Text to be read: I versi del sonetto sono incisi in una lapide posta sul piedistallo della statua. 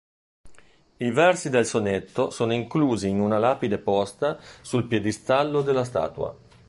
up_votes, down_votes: 1, 2